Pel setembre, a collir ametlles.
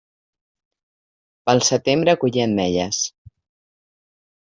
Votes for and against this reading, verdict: 0, 2, rejected